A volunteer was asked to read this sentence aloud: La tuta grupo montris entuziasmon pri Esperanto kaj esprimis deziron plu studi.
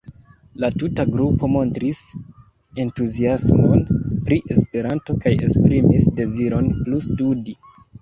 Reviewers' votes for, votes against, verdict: 0, 2, rejected